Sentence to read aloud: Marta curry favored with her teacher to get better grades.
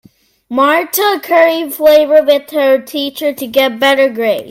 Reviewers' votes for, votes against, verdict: 0, 2, rejected